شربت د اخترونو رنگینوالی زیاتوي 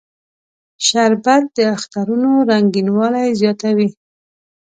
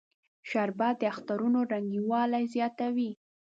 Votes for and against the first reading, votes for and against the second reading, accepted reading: 2, 0, 1, 2, first